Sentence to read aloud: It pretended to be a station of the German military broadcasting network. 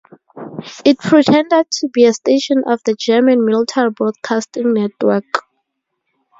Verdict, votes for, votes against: accepted, 2, 0